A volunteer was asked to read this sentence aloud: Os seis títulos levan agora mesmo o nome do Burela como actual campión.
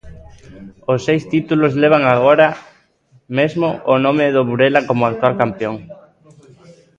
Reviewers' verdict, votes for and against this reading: rejected, 1, 2